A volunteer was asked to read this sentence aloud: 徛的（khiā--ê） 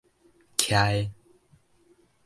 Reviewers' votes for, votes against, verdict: 2, 0, accepted